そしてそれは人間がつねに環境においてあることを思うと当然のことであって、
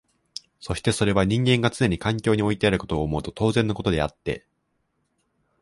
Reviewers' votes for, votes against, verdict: 1, 3, rejected